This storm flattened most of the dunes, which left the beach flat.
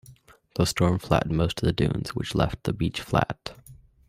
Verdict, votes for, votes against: rejected, 1, 2